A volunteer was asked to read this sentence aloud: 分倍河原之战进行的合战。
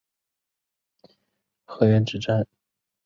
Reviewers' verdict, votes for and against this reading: rejected, 0, 2